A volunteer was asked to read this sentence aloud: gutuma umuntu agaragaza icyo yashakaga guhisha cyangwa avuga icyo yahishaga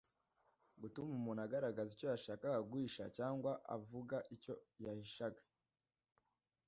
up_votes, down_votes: 2, 0